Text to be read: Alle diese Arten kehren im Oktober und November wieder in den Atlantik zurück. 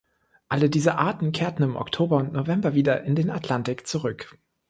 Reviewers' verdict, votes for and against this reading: rejected, 0, 2